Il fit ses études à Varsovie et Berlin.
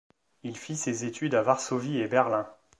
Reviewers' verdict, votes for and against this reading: accepted, 2, 0